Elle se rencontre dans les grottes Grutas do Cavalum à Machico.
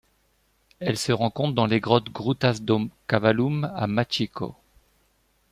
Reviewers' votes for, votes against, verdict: 2, 0, accepted